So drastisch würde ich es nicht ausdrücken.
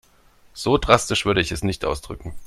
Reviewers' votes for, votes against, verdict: 2, 0, accepted